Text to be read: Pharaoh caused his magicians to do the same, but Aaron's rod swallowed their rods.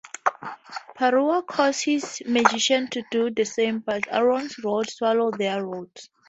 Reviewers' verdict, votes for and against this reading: rejected, 0, 2